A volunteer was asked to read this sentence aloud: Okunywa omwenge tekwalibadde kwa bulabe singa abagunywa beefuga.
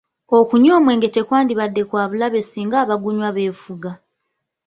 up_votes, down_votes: 3, 0